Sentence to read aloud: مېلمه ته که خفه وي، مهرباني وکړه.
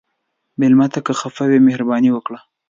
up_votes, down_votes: 2, 0